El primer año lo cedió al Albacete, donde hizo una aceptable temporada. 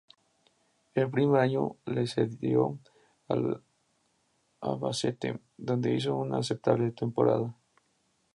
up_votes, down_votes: 0, 2